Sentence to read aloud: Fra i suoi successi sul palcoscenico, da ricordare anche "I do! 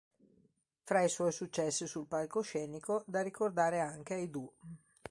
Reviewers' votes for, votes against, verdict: 2, 0, accepted